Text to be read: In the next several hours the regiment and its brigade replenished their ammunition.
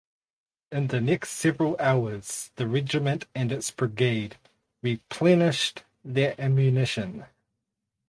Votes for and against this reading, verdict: 2, 2, rejected